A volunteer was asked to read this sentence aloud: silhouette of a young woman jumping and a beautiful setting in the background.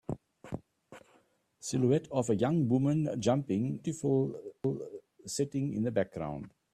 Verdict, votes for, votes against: rejected, 0, 2